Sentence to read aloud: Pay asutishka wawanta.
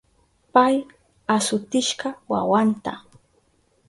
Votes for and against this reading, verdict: 2, 2, rejected